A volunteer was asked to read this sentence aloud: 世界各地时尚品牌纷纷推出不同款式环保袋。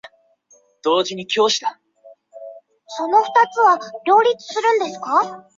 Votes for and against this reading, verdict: 0, 2, rejected